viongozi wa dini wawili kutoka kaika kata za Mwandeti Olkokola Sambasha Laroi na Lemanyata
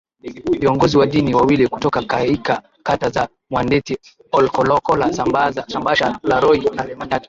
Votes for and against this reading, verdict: 0, 2, rejected